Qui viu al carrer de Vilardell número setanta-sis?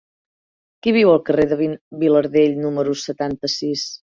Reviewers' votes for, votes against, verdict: 0, 2, rejected